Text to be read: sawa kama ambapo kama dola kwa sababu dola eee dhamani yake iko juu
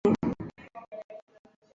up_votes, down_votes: 0, 2